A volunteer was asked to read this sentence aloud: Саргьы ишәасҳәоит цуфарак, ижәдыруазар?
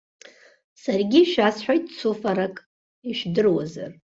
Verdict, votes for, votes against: accepted, 2, 1